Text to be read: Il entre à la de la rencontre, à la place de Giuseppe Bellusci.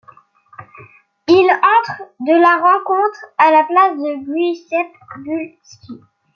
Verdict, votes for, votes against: rejected, 1, 2